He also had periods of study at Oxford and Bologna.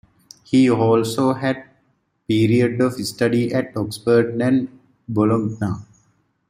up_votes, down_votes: 0, 2